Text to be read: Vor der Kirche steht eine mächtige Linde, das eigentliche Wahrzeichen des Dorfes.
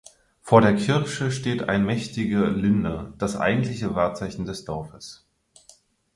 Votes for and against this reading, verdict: 0, 4, rejected